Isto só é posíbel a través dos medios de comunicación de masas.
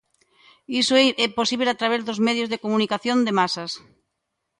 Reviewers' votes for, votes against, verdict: 1, 2, rejected